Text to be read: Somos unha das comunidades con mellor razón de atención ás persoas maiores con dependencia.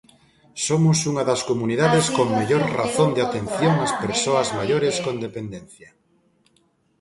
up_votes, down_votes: 0, 2